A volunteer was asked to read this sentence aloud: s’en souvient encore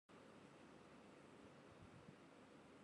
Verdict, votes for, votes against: rejected, 0, 2